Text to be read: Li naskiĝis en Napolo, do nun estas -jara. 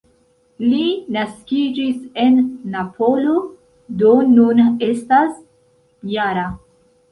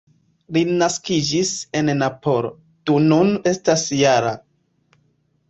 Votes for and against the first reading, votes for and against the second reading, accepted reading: 1, 2, 2, 0, second